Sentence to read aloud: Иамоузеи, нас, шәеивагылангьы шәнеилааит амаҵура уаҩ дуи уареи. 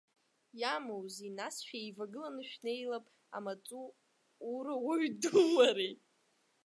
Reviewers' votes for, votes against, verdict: 0, 2, rejected